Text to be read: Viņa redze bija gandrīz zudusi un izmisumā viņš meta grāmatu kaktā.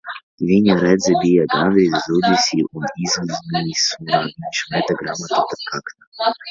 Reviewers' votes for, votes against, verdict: 0, 3, rejected